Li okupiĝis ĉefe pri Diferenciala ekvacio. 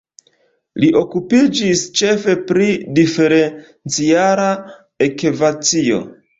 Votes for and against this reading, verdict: 2, 0, accepted